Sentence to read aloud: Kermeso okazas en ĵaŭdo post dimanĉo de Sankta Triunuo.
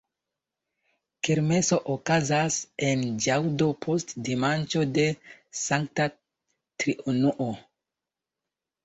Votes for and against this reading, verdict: 2, 0, accepted